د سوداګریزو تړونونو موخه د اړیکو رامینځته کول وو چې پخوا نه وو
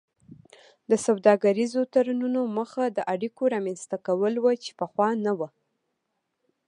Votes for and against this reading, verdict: 2, 0, accepted